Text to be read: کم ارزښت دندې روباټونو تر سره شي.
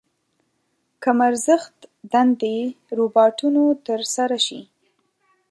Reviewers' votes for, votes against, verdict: 2, 0, accepted